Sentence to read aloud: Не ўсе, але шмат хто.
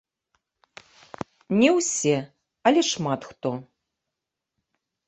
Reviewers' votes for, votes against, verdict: 1, 3, rejected